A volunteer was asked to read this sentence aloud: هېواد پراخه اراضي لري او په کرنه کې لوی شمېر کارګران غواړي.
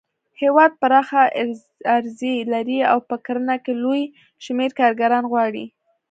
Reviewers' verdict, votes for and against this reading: accepted, 2, 0